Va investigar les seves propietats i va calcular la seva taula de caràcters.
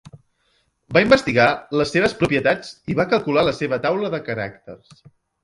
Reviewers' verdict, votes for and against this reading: rejected, 0, 2